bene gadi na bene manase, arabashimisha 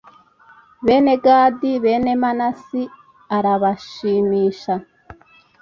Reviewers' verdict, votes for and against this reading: rejected, 1, 2